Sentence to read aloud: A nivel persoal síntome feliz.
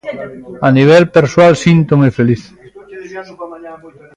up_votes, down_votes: 0, 2